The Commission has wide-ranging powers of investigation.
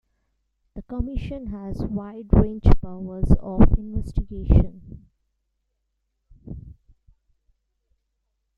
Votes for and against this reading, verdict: 0, 2, rejected